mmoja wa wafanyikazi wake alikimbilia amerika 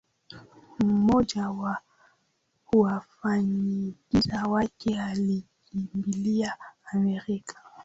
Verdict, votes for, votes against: accepted, 2, 0